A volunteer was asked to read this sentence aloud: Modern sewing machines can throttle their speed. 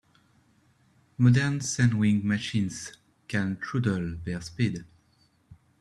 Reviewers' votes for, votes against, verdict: 0, 2, rejected